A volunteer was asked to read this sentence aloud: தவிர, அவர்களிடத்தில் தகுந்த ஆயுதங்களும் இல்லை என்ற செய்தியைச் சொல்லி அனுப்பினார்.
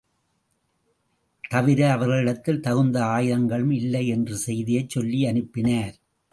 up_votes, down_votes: 3, 0